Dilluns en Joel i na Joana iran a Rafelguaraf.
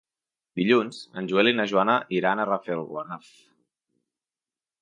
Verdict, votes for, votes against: accepted, 2, 1